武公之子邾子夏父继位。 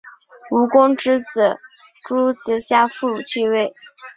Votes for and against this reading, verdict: 6, 3, accepted